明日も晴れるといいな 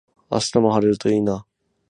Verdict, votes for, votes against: accepted, 6, 0